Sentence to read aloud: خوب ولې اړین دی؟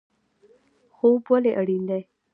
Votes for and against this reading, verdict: 2, 0, accepted